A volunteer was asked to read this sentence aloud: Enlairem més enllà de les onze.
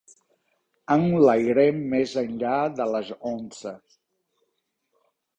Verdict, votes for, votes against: rejected, 1, 2